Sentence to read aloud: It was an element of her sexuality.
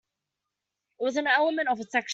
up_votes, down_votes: 0, 2